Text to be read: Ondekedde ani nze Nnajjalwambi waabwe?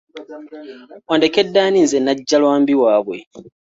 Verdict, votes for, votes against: accepted, 3, 0